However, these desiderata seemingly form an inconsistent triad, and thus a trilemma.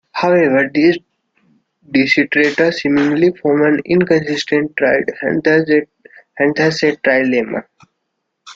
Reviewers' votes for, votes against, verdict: 1, 2, rejected